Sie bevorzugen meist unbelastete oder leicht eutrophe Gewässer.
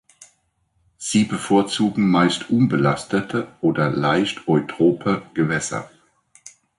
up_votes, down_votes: 1, 2